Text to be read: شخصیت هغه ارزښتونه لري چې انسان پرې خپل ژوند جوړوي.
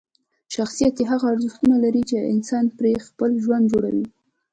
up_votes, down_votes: 3, 1